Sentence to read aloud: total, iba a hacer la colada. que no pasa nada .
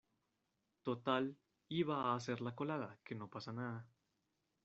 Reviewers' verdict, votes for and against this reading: rejected, 0, 2